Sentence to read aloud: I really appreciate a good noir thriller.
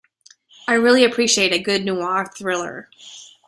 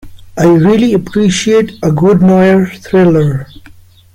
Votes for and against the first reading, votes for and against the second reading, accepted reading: 2, 0, 0, 2, first